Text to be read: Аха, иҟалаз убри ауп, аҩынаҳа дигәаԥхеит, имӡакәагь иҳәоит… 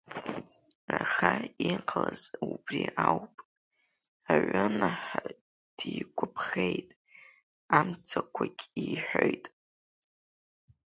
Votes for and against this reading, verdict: 0, 4, rejected